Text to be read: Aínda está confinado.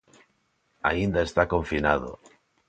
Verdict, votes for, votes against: accepted, 2, 0